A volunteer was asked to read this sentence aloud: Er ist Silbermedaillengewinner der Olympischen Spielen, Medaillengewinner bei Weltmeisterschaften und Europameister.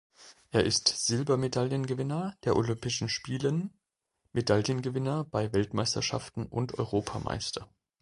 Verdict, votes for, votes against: accepted, 2, 0